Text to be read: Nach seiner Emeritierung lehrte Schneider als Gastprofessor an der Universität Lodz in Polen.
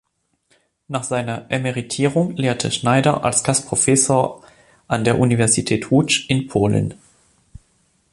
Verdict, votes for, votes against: rejected, 0, 2